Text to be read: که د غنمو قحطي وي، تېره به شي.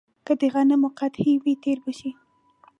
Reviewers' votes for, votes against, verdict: 0, 2, rejected